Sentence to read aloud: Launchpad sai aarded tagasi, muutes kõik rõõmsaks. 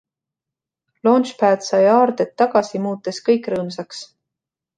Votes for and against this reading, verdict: 2, 0, accepted